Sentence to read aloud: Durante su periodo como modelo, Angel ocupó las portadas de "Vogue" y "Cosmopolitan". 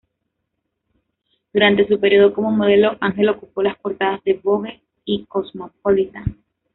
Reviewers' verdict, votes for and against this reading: accepted, 2, 1